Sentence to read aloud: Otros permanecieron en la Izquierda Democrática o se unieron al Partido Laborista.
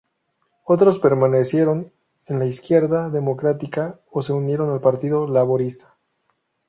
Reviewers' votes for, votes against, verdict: 2, 2, rejected